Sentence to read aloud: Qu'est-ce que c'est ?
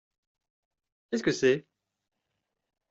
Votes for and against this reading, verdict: 2, 0, accepted